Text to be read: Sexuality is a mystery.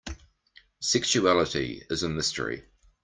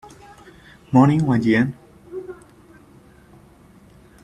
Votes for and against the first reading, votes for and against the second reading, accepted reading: 2, 0, 0, 2, first